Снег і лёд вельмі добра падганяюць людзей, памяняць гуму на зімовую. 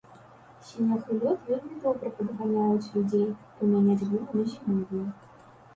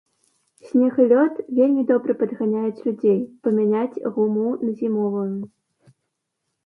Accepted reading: second